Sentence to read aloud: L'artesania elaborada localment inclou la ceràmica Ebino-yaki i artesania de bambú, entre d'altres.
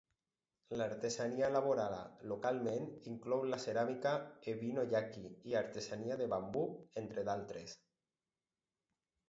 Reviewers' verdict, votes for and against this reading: rejected, 2, 2